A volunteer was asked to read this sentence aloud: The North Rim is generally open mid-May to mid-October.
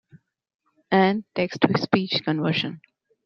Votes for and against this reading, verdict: 0, 2, rejected